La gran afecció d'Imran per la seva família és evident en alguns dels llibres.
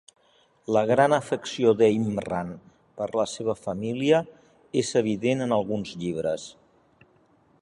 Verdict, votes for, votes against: rejected, 1, 2